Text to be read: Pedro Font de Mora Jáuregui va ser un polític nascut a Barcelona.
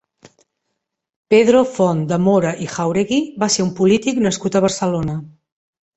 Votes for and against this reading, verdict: 1, 2, rejected